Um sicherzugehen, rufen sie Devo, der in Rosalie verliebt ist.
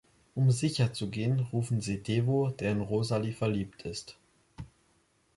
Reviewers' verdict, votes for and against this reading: accepted, 2, 0